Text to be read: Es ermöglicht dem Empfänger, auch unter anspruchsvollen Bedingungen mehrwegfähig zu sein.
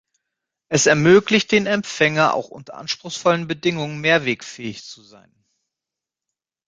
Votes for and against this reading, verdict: 1, 2, rejected